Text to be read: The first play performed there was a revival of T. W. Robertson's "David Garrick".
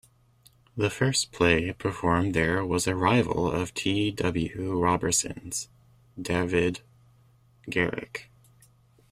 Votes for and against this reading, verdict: 0, 2, rejected